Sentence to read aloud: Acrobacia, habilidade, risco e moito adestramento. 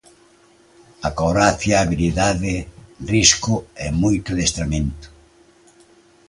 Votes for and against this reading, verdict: 2, 1, accepted